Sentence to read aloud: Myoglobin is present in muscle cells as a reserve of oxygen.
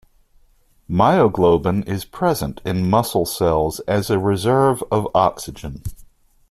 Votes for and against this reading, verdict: 2, 0, accepted